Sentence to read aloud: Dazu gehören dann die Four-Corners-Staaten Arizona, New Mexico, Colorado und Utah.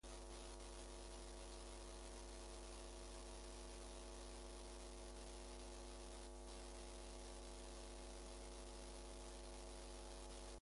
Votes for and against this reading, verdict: 0, 2, rejected